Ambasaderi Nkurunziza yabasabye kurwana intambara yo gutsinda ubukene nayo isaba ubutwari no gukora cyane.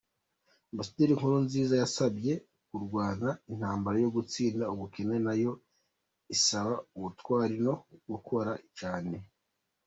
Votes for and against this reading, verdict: 2, 0, accepted